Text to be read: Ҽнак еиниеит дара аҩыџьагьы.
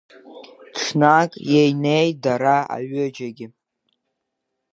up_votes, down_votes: 2, 1